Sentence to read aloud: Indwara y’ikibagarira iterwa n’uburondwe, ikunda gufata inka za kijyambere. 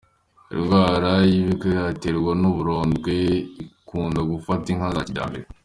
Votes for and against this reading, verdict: 2, 0, accepted